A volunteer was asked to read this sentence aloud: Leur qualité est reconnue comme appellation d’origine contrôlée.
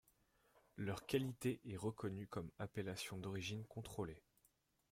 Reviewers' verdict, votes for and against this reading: accepted, 2, 0